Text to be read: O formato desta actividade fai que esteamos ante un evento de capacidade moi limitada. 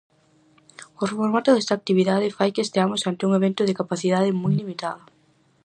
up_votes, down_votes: 4, 0